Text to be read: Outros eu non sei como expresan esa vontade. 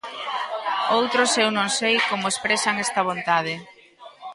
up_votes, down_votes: 1, 2